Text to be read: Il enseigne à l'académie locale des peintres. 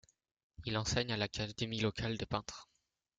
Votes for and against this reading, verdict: 1, 2, rejected